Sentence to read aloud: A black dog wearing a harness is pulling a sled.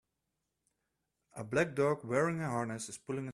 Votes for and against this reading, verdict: 0, 2, rejected